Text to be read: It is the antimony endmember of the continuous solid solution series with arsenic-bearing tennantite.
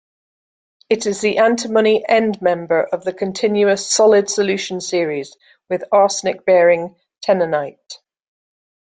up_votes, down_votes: 0, 2